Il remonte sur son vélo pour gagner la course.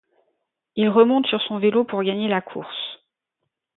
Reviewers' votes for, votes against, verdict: 2, 0, accepted